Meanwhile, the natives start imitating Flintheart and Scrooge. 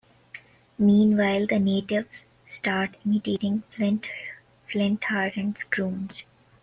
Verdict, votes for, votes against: rejected, 0, 2